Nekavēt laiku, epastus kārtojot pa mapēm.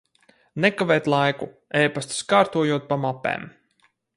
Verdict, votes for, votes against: accepted, 4, 2